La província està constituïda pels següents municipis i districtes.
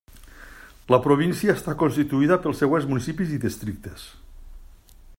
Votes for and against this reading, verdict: 3, 0, accepted